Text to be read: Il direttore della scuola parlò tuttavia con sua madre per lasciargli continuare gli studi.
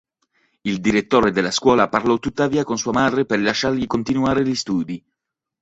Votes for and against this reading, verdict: 1, 2, rejected